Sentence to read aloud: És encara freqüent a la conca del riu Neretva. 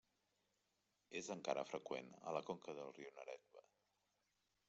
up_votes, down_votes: 0, 2